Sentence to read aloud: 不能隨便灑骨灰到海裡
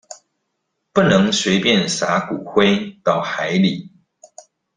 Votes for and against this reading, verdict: 2, 0, accepted